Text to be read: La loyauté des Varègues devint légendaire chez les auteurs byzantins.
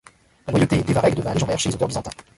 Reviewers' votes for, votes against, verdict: 0, 2, rejected